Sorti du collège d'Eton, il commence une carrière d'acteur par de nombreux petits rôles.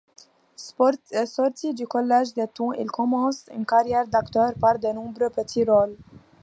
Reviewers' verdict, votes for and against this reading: rejected, 0, 2